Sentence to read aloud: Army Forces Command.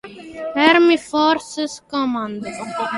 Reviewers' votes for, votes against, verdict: 3, 2, accepted